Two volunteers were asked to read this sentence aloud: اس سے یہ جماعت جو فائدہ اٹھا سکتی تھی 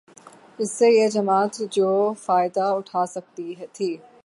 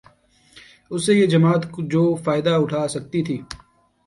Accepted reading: second